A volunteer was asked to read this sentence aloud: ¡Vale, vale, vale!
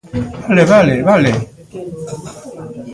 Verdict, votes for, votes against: rejected, 1, 2